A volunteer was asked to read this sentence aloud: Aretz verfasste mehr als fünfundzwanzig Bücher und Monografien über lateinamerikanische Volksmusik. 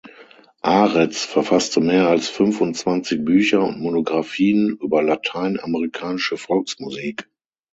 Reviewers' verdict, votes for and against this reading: accepted, 9, 3